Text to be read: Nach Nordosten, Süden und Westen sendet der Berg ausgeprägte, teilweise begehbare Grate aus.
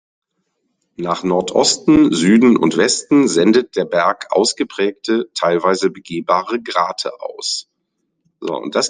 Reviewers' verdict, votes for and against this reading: rejected, 0, 2